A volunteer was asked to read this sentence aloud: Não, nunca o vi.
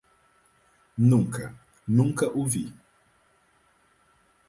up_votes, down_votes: 0, 4